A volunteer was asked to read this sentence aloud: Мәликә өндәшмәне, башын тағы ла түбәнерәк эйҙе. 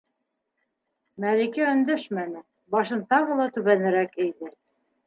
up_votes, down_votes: 3, 0